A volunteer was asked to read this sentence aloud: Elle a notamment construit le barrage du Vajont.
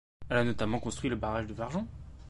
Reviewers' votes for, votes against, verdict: 1, 2, rejected